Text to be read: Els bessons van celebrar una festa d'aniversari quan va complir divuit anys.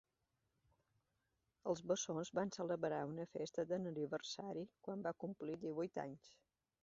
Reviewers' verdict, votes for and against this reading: accepted, 2, 1